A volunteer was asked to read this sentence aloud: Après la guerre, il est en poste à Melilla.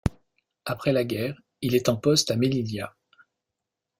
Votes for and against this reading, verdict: 1, 2, rejected